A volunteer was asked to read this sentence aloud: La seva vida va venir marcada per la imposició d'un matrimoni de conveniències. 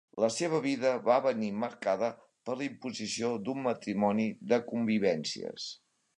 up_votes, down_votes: 0, 2